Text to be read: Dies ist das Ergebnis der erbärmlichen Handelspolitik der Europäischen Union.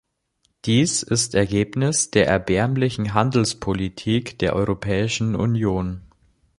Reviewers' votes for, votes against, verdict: 1, 2, rejected